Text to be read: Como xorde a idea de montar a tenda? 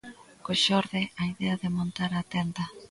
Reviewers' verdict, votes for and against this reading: rejected, 0, 2